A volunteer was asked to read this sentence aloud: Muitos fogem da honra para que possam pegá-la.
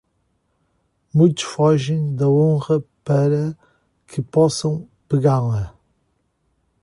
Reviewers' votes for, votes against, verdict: 2, 0, accepted